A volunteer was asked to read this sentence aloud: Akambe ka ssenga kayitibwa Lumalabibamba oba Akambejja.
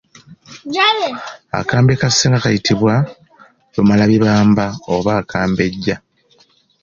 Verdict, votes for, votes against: accepted, 2, 0